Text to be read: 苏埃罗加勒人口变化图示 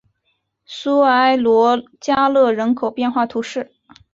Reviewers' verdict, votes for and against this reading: accepted, 4, 0